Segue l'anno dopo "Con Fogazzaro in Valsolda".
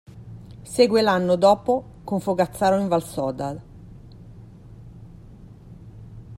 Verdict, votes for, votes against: rejected, 0, 2